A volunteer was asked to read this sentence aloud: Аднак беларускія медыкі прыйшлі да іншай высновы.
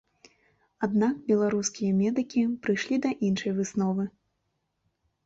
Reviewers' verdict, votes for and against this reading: accepted, 2, 0